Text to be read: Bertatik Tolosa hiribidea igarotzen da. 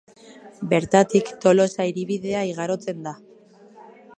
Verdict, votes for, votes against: rejected, 1, 2